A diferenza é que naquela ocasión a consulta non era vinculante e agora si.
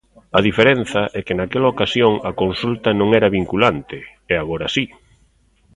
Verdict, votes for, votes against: accepted, 2, 0